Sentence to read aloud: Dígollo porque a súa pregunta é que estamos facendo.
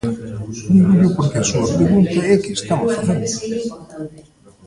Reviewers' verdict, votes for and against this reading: rejected, 1, 3